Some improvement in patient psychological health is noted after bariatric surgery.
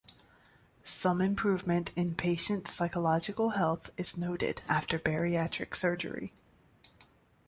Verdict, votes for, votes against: accepted, 2, 0